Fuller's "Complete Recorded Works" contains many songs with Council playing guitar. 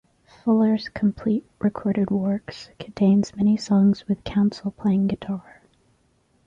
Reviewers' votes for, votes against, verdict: 2, 0, accepted